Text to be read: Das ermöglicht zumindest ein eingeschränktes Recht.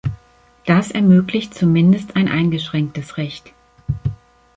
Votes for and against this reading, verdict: 2, 0, accepted